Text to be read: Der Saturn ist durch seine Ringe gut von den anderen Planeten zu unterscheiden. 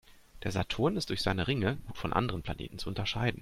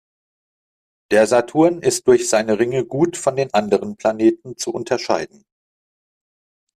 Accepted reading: second